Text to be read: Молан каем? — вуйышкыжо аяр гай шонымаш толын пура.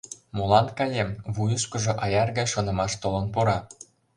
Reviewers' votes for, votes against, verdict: 2, 0, accepted